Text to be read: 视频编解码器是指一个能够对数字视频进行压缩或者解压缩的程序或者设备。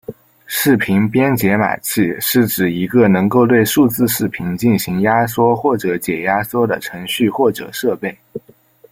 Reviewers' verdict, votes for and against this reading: rejected, 1, 2